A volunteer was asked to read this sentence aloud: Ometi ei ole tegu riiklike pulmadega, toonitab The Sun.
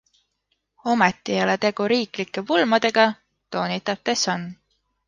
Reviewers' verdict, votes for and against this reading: accepted, 2, 0